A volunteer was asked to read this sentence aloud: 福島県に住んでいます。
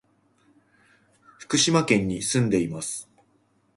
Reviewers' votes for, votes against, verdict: 2, 0, accepted